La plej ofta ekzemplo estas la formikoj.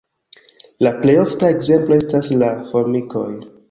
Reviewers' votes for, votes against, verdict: 1, 2, rejected